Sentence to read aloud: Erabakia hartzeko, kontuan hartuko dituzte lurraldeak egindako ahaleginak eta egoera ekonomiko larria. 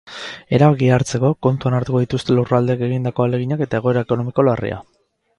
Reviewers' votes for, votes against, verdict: 2, 2, rejected